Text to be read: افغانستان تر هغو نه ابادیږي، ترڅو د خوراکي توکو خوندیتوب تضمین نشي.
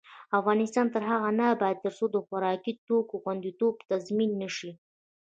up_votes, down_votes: 0, 2